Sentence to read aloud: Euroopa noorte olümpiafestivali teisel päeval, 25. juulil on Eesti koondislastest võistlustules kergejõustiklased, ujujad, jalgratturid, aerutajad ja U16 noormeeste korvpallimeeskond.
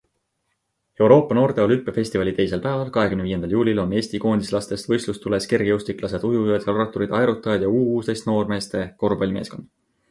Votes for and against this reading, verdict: 0, 2, rejected